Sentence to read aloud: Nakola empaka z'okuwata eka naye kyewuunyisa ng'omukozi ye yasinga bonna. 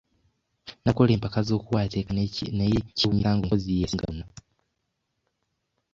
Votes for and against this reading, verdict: 0, 2, rejected